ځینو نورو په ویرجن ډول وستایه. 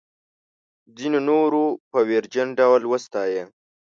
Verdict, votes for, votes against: accepted, 2, 0